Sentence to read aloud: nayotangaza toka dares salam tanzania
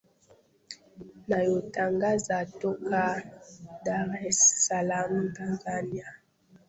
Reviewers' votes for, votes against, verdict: 0, 2, rejected